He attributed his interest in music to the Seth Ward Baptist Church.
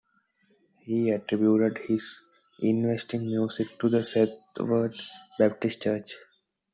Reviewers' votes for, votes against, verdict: 2, 1, accepted